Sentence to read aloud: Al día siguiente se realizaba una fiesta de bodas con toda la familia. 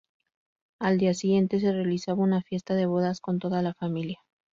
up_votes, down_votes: 4, 0